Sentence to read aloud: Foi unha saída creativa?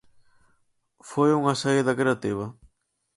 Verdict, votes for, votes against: accepted, 4, 0